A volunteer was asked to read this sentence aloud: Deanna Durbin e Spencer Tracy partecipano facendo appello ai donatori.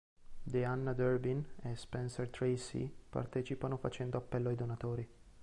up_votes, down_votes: 2, 1